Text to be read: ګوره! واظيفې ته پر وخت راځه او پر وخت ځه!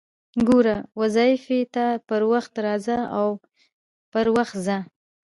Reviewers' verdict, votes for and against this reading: rejected, 1, 2